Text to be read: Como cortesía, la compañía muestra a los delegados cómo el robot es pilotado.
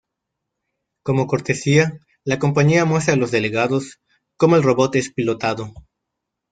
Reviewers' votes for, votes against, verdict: 2, 0, accepted